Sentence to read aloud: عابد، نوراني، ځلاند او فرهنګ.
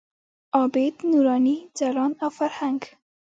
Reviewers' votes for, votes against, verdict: 1, 2, rejected